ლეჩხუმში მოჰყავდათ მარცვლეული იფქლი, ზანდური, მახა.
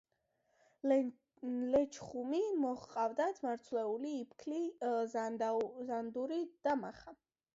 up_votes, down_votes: 0, 2